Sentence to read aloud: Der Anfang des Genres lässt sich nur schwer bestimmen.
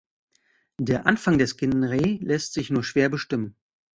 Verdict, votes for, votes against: rejected, 1, 2